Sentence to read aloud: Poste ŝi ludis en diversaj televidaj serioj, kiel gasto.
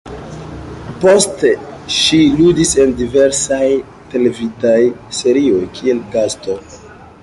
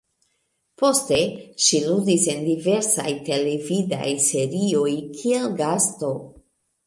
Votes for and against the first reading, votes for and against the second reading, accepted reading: 1, 2, 2, 0, second